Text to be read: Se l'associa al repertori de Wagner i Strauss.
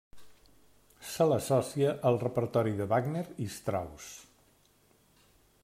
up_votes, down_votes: 0, 2